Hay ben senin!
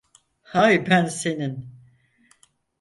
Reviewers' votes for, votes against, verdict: 2, 4, rejected